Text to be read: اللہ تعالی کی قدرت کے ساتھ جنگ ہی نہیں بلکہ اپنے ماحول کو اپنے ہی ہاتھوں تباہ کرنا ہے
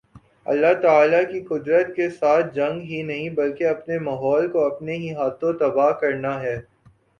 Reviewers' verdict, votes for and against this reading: accepted, 2, 0